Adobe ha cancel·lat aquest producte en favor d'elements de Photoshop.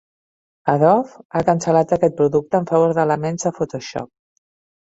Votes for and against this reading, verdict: 2, 1, accepted